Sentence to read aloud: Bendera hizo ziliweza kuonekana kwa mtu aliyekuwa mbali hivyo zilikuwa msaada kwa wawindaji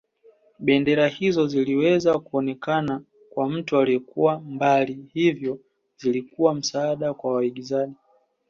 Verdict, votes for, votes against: accepted, 2, 0